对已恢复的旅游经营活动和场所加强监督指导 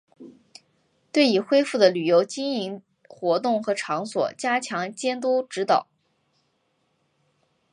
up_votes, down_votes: 3, 0